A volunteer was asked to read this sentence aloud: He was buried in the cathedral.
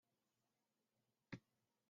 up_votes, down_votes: 0, 2